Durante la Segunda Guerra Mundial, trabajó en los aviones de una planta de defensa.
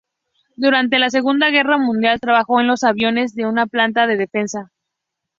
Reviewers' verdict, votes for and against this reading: rejected, 0, 2